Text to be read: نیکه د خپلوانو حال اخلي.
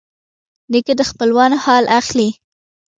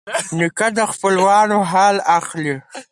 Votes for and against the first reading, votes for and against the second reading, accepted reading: 2, 1, 2, 4, first